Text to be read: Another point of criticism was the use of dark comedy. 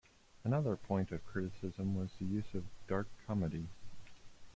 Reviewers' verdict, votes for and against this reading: accepted, 2, 0